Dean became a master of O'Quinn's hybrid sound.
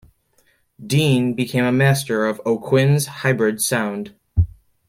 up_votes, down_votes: 2, 0